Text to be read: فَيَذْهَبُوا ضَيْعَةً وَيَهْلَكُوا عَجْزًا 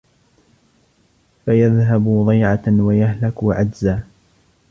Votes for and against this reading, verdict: 2, 1, accepted